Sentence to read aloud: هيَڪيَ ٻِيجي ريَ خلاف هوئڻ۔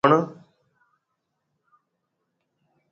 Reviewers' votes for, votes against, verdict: 1, 2, rejected